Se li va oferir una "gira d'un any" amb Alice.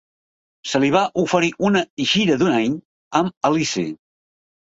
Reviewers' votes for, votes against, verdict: 0, 2, rejected